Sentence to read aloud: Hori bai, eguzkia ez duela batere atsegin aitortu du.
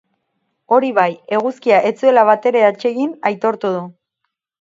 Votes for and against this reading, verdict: 0, 4, rejected